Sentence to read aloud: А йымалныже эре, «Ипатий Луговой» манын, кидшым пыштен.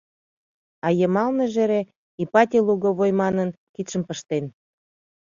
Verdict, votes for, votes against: accepted, 2, 0